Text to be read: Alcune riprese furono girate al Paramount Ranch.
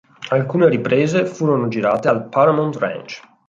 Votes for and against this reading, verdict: 2, 0, accepted